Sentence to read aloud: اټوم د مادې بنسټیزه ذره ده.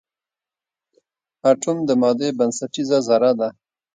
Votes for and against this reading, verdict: 2, 0, accepted